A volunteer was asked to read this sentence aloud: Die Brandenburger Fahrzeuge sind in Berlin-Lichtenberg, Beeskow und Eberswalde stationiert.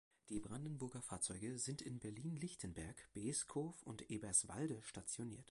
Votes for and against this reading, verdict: 1, 2, rejected